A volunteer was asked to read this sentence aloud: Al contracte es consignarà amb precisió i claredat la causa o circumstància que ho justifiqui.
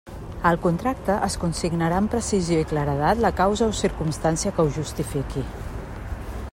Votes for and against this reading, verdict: 3, 1, accepted